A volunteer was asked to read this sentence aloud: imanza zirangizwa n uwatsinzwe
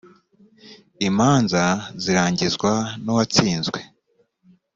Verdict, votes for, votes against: accepted, 2, 0